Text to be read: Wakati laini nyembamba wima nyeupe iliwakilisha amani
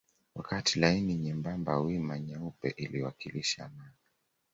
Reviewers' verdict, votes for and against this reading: rejected, 1, 2